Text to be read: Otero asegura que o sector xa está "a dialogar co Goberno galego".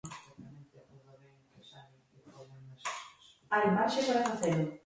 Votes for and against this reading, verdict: 0, 2, rejected